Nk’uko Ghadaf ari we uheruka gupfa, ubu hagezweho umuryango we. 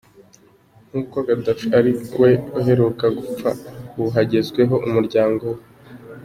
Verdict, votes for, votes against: rejected, 1, 2